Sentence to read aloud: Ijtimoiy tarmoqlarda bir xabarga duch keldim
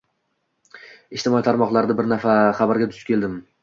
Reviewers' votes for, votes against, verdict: 2, 0, accepted